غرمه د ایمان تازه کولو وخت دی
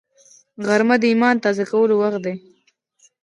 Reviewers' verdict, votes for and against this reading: rejected, 1, 2